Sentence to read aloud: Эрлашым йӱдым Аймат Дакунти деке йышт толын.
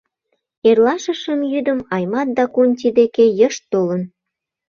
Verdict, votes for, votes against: rejected, 0, 2